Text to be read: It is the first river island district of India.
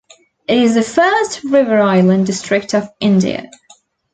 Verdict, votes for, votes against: rejected, 0, 2